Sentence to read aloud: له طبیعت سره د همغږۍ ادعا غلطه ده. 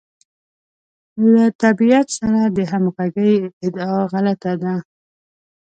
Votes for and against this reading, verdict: 2, 0, accepted